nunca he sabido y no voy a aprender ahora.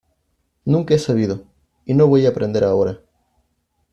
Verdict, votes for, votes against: accepted, 2, 0